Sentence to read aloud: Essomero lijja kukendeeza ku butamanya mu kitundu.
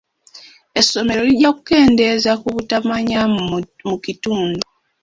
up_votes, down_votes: 2, 1